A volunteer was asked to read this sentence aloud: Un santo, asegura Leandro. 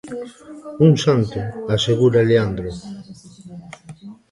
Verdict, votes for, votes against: accepted, 2, 0